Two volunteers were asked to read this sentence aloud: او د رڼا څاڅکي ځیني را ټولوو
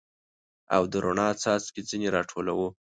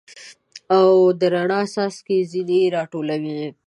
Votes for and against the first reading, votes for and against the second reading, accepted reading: 2, 0, 1, 2, first